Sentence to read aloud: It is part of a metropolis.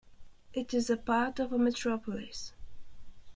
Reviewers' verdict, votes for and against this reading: rejected, 0, 2